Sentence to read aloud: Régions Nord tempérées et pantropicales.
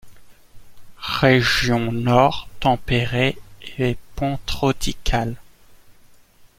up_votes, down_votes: 0, 2